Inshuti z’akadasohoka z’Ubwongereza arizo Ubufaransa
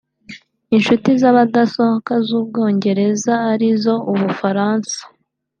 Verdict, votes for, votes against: rejected, 1, 2